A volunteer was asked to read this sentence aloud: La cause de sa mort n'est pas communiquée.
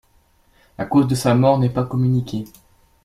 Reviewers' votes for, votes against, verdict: 2, 0, accepted